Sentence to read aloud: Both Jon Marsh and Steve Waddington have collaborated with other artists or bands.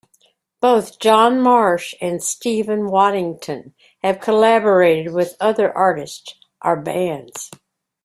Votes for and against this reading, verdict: 0, 2, rejected